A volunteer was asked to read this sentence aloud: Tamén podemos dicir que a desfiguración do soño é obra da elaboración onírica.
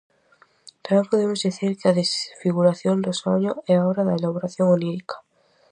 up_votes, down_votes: 2, 0